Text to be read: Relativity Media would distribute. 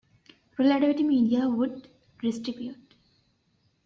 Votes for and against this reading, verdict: 2, 0, accepted